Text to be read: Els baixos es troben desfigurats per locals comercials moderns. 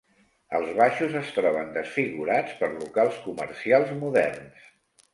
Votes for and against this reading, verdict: 2, 0, accepted